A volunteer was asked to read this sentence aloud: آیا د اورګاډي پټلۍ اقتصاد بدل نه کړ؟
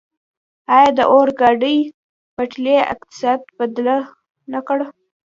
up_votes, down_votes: 2, 0